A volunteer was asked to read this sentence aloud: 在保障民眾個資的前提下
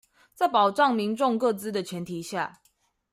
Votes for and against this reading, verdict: 2, 0, accepted